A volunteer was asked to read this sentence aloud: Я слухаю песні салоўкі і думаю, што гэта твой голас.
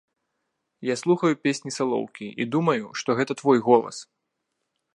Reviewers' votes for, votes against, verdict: 2, 0, accepted